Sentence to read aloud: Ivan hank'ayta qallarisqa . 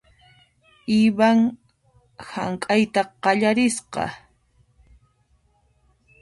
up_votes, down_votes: 2, 1